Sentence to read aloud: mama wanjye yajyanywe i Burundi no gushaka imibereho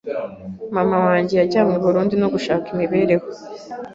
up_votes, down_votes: 2, 0